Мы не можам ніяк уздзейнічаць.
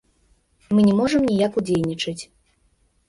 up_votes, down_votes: 0, 2